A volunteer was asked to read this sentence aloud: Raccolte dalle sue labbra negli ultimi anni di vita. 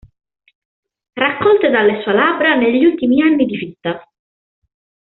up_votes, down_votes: 2, 1